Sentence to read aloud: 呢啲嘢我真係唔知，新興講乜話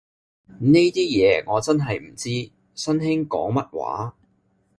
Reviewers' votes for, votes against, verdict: 2, 0, accepted